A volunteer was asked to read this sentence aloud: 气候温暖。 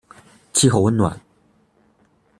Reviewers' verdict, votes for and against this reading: accepted, 2, 0